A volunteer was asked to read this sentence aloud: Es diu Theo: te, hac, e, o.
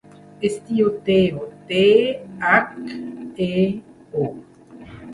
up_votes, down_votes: 2, 0